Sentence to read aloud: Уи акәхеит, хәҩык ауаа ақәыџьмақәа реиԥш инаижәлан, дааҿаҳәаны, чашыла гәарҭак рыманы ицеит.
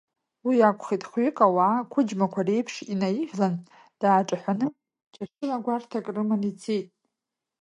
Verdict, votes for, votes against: accepted, 2, 0